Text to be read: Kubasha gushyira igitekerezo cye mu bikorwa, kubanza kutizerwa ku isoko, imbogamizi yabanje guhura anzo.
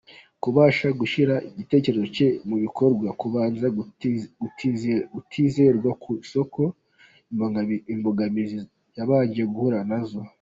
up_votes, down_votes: 2, 1